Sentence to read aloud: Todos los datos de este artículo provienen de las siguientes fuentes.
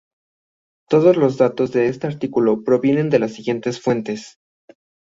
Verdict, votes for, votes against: accepted, 2, 0